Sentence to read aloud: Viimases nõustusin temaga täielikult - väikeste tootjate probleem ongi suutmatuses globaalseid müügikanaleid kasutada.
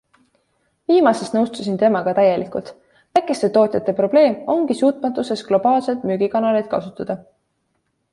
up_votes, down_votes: 2, 0